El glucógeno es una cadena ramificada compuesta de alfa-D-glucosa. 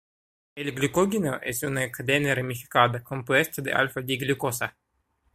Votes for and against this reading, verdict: 0, 2, rejected